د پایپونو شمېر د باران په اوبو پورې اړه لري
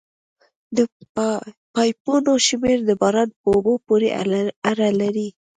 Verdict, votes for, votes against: rejected, 1, 2